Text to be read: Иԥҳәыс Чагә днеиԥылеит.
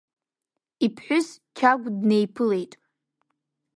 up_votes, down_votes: 1, 2